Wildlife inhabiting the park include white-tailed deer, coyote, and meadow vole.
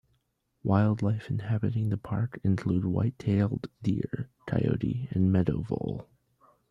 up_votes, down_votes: 2, 0